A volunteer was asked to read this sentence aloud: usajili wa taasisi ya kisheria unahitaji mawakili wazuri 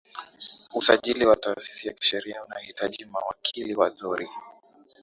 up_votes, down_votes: 3, 0